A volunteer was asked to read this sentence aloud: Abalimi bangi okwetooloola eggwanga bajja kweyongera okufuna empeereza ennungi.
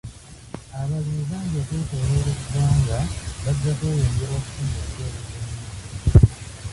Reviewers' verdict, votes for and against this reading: rejected, 0, 2